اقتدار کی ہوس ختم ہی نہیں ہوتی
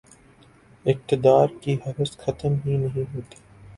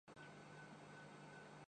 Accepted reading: first